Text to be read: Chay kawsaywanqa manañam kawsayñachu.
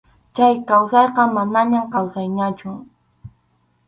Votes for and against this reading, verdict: 2, 2, rejected